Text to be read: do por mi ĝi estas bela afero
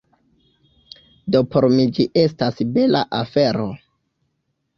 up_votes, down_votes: 0, 2